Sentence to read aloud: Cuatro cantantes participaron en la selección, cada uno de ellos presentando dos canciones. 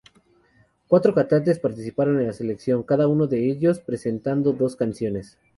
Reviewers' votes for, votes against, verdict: 2, 0, accepted